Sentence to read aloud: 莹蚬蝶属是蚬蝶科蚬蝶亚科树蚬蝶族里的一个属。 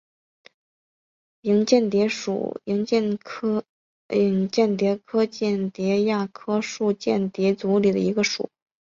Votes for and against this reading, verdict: 4, 0, accepted